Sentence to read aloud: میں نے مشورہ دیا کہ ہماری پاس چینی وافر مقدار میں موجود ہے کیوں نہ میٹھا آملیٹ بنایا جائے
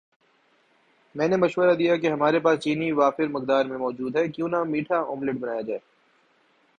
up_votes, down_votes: 2, 0